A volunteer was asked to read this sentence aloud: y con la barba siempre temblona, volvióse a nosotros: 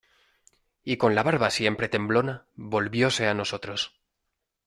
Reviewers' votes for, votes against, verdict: 2, 0, accepted